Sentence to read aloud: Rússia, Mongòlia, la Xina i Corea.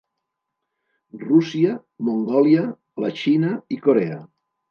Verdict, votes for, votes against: accepted, 2, 0